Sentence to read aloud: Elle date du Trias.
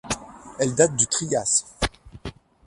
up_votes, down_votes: 2, 0